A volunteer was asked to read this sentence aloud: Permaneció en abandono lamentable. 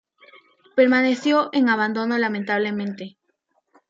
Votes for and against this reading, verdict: 0, 2, rejected